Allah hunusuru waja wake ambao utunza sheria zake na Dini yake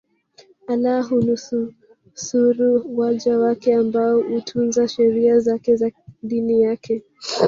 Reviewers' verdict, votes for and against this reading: rejected, 0, 2